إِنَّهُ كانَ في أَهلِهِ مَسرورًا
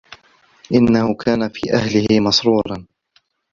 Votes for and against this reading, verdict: 2, 0, accepted